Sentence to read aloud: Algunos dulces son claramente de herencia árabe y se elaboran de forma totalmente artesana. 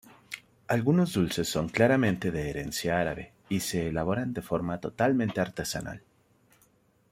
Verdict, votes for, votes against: rejected, 1, 2